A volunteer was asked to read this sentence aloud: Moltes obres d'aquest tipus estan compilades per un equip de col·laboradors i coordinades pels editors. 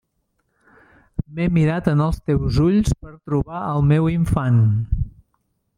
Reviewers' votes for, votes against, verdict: 0, 2, rejected